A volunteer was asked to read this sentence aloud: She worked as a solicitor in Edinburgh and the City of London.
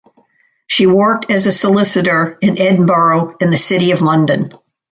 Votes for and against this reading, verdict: 2, 0, accepted